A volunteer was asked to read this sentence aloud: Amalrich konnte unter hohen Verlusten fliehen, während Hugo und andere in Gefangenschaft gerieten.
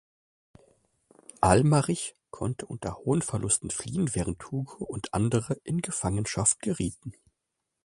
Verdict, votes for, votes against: rejected, 0, 2